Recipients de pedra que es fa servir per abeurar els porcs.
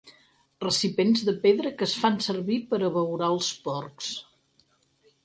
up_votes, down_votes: 2, 4